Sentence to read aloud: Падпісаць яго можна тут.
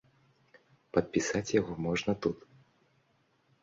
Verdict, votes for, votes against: accepted, 2, 1